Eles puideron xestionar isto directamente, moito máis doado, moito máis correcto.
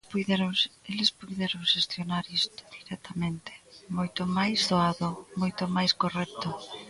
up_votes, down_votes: 0, 2